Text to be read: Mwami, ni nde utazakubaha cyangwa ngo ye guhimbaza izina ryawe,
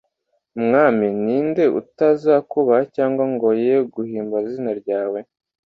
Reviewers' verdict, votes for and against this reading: accepted, 2, 0